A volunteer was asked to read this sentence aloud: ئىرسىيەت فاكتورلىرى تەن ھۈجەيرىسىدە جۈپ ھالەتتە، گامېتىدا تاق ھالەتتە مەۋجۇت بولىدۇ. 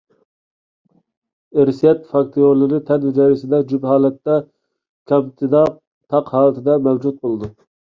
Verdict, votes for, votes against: rejected, 1, 2